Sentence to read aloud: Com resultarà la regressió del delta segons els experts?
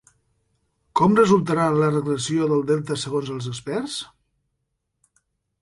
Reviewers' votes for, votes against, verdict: 4, 0, accepted